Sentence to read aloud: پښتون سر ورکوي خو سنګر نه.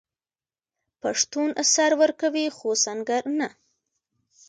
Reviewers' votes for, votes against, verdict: 1, 2, rejected